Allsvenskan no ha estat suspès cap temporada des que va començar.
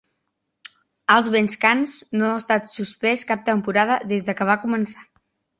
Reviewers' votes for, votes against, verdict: 3, 2, accepted